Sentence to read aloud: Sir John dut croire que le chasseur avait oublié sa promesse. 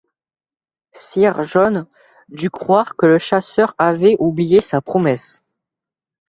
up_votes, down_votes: 1, 2